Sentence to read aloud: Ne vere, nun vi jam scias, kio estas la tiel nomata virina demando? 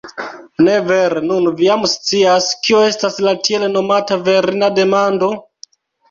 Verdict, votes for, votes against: rejected, 1, 2